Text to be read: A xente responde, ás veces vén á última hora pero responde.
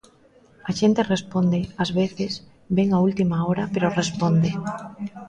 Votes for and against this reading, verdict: 1, 2, rejected